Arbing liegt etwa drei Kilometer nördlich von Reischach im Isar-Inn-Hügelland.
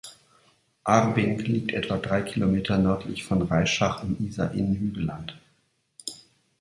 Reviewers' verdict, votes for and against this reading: accepted, 2, 0